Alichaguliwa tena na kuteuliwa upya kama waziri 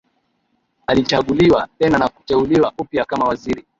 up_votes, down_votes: 0, 2